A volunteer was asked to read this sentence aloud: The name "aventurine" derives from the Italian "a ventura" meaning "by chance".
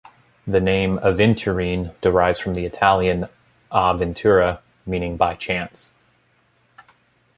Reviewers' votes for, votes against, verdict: 2, 0, accepted